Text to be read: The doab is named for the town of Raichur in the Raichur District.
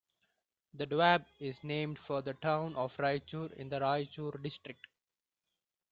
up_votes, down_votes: 2, 0